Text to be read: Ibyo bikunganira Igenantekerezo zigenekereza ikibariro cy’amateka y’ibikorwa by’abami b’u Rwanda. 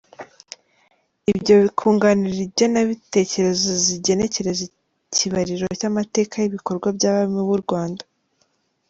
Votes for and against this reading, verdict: 2, 1, accepted